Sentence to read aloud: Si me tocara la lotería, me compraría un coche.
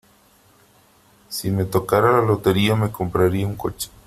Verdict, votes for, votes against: accepted, 3, 0